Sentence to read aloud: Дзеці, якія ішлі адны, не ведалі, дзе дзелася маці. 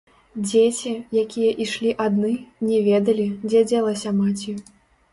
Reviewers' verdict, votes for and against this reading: rejected, 1, 2